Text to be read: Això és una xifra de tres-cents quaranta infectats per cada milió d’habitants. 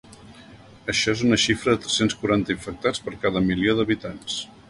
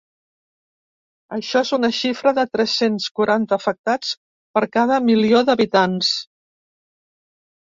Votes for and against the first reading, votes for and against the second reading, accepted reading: 4, 0, 1, 2, first